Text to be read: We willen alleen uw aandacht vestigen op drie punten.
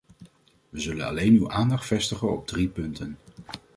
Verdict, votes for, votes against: rejected, 1, 2